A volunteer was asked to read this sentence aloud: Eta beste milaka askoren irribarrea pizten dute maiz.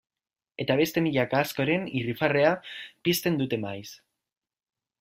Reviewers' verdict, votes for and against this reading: rejected, 1, 2